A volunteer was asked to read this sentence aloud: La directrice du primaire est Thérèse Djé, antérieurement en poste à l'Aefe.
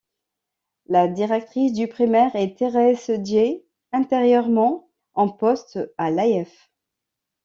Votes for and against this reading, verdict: 1, 2, rejected